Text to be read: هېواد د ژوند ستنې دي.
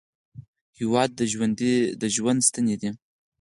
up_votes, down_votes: 4, 0